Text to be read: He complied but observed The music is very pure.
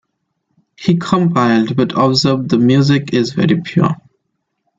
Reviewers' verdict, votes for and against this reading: rejected, 1, 2